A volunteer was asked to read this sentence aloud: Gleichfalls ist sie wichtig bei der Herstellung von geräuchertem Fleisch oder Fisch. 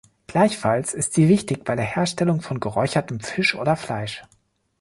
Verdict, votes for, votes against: rejected, 1, 2